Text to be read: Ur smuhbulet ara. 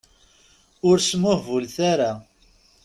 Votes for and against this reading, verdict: 2, 0, accepted